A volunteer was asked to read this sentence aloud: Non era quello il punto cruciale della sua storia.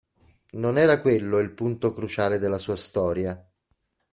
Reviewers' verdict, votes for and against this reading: accepted, 2, 0